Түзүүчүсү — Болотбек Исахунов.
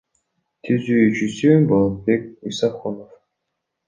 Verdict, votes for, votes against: rejected, 1, 2